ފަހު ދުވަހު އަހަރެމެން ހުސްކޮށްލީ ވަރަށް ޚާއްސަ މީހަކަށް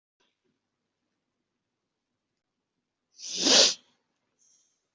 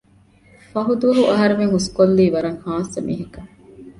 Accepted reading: second